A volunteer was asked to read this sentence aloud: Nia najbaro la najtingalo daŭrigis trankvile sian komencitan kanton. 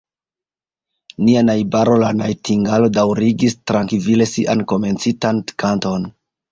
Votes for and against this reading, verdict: 2, 1, accepted